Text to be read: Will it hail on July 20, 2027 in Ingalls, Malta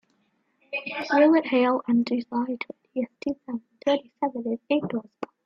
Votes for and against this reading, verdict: 0, 2, rejected